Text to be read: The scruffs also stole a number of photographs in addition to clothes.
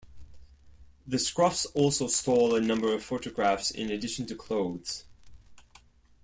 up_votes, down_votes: 2, 0